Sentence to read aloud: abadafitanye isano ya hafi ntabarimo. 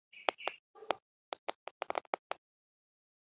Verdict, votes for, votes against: rejected, 0, 2